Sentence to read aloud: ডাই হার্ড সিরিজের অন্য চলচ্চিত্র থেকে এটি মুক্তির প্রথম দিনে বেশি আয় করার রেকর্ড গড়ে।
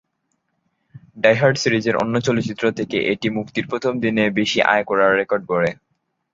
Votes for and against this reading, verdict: 2, 0, accepted